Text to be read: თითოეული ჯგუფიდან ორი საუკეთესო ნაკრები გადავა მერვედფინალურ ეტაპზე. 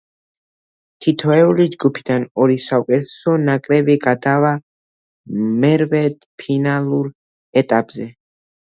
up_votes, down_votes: 2, 0